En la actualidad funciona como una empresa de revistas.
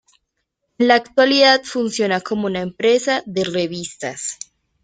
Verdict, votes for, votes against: rejected, 1, 2